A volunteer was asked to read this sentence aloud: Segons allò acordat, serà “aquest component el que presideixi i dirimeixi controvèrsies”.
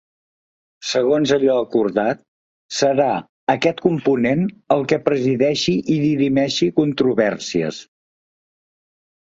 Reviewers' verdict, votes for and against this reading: accepted, 2, 0